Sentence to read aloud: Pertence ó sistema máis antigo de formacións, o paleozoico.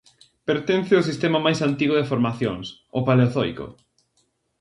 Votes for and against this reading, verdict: 2, 0, accepted